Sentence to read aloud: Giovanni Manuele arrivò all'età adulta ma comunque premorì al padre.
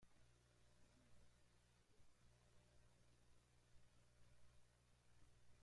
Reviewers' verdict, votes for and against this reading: rejected, 0, 2